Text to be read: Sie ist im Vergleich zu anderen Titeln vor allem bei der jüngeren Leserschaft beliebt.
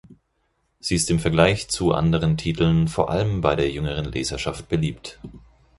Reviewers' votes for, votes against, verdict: 4, 0, accepted